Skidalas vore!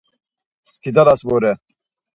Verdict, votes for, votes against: accepted, 4, 0